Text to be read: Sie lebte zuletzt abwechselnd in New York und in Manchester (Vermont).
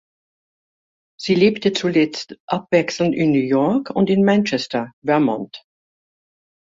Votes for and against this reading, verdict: 2, 0, accepted